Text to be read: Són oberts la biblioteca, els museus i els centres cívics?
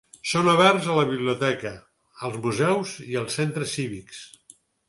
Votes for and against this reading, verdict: 0, 4, rejected